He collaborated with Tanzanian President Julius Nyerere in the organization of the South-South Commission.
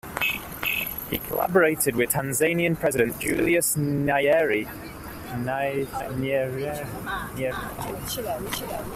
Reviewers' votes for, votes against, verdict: 0, 2, rejected